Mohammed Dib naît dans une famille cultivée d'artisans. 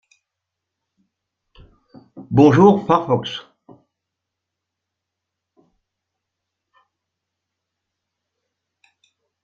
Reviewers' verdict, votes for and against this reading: rejected, 0, 2